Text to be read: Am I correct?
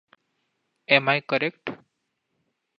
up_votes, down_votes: 2, 0